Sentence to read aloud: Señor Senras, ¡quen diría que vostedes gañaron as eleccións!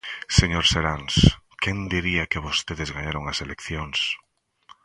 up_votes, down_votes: 1, 2